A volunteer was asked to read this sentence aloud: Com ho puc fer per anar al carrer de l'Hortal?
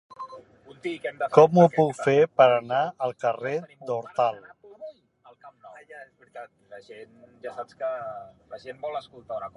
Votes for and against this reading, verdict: 0, 2, rejected